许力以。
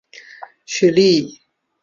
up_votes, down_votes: 2, 0